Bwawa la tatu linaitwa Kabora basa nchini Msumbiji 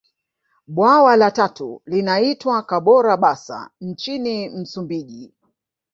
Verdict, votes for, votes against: rejected, 0, 2